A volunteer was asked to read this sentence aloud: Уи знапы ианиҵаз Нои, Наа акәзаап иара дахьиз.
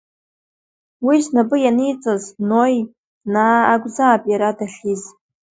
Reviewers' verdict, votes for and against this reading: accepted, 2, 0